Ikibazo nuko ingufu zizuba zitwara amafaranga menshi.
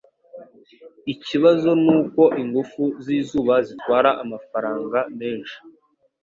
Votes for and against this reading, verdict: 2, 0, accepted